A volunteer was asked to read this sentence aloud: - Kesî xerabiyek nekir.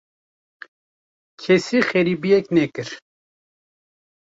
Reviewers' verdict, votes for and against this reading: rejected, 1, 2